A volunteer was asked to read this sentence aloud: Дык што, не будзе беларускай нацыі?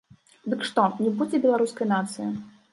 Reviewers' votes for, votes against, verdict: 2, 0, accepted